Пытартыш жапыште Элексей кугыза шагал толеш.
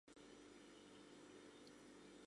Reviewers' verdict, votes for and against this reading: rejected, 0, 2